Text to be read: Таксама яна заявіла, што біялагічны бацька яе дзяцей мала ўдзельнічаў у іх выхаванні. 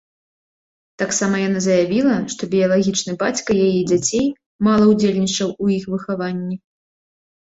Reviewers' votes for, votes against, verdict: 2, 0, accepted